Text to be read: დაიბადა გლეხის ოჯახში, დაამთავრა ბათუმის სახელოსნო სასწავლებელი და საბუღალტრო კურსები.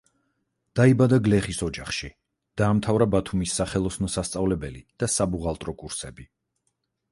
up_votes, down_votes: 4, 0